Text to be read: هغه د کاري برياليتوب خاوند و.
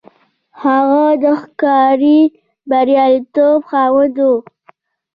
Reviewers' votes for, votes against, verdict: 1, 2, rejected